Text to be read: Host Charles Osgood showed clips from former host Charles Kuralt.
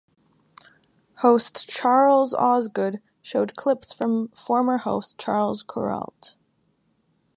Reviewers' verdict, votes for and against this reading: rejected, 1, 2